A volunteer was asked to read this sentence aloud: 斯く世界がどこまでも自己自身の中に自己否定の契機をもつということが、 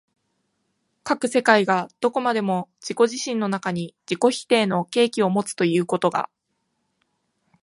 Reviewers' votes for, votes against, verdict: 1, 2, rejected